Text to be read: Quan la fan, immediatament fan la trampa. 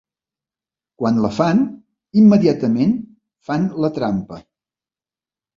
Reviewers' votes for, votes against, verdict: 3, 0, accepted